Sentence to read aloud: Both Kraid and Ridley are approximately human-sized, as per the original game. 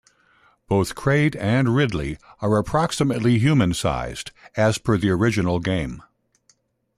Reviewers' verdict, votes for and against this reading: accepted, 2, 0